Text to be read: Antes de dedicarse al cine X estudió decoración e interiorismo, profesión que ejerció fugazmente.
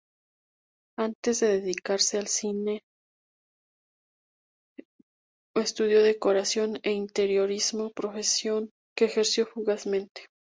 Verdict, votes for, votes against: rejected, 0, 2